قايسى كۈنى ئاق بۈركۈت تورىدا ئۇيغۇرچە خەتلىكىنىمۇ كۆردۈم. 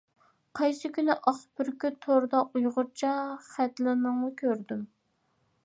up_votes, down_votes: 0, 2